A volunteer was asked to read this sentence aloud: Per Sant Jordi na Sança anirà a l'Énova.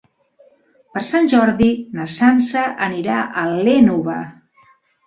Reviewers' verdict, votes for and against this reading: accepted, 2, 0